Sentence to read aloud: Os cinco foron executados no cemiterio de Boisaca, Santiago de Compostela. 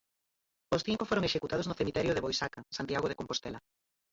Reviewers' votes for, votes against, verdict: 2, 4, rejected